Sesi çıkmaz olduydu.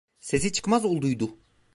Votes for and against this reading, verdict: 2, 0, accepted